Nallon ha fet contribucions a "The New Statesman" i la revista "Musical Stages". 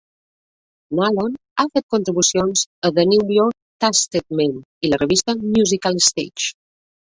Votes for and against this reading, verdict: 0, 2, rejected